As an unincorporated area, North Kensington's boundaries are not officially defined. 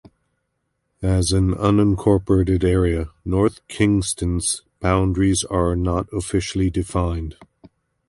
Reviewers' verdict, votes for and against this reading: rejected, 0, 2